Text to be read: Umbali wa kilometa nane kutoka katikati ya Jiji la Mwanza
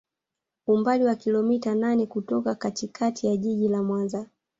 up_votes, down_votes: 3, 0